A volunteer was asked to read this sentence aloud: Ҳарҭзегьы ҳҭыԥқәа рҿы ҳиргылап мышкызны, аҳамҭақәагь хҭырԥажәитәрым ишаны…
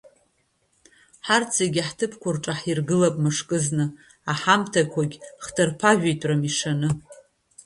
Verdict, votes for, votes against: accepted, 2, 1